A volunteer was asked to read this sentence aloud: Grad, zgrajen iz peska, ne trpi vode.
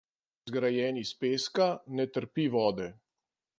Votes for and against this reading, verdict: 0, 2, rejected